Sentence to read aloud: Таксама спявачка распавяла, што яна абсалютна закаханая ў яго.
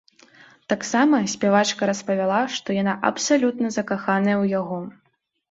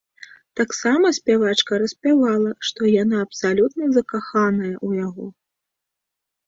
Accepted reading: first